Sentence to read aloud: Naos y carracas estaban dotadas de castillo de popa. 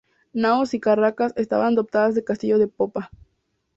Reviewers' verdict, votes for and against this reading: accepted, 4, 0